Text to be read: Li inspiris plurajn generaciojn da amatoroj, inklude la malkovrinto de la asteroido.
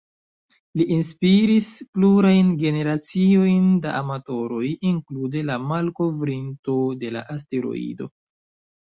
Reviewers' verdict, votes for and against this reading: rejected, 1, 2